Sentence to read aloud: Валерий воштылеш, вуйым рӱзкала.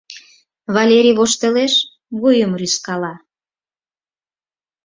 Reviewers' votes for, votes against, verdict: 4, 0, accepted